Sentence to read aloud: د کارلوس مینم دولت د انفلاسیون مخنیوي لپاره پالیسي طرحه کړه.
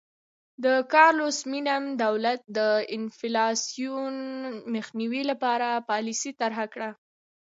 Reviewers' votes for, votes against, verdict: 2, 0, accepted